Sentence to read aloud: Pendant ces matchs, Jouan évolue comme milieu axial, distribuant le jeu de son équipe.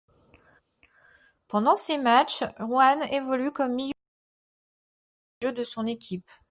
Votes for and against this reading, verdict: 0, 2, rejected